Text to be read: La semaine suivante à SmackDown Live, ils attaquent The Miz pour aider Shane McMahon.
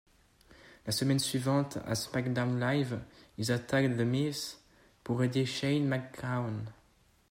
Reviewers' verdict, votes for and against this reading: accepted, 2, 0